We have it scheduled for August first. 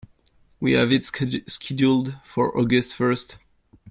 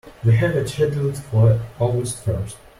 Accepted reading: second